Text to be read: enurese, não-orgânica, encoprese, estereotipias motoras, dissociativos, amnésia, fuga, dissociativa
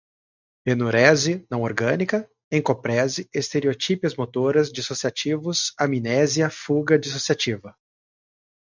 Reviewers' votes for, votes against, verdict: 4, 0, accepted